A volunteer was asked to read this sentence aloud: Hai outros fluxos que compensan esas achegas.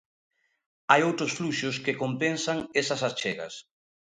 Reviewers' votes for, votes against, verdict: 2, 0, accepted